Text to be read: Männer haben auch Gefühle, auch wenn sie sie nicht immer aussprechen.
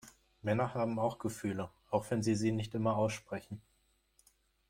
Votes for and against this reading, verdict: 2, 0, accepted